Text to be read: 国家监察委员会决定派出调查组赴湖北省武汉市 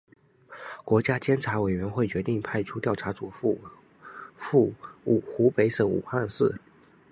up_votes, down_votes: 0, 2